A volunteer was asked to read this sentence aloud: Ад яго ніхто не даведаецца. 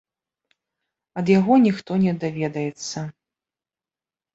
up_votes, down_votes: 3, 0